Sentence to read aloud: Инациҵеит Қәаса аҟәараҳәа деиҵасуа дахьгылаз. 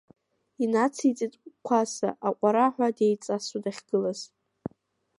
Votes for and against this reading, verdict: 2, 1, accepted